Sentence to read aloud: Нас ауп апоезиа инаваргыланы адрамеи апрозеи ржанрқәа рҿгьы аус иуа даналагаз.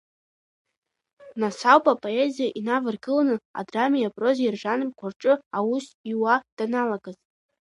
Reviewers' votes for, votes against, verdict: 0, 2, rejected